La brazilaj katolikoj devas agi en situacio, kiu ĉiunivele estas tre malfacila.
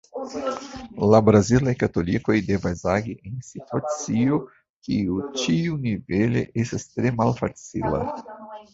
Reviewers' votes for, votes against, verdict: 0, 2, rejected